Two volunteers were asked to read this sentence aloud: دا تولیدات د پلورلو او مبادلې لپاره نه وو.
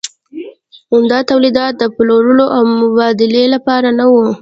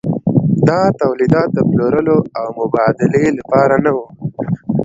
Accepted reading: second